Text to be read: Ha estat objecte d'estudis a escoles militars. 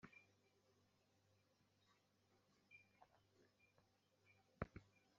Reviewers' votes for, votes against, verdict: 0, 2, rejected